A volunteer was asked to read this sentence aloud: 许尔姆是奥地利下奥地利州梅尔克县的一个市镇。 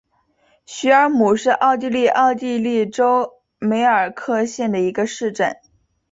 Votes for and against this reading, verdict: 0, 3, rejected